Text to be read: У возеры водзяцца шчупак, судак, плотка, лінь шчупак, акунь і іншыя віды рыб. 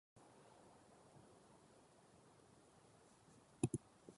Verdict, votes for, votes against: rejected, 0, 2